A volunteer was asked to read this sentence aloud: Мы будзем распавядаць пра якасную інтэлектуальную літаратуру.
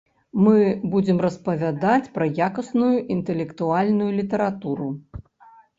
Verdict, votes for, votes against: accepted, 2, 0